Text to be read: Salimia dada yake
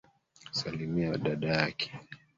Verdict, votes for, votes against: rejected, 1, 2